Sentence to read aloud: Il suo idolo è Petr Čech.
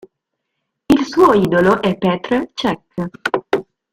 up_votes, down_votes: 0, 2